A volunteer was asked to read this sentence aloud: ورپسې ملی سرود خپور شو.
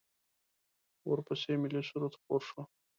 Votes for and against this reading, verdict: 2, 0, accepted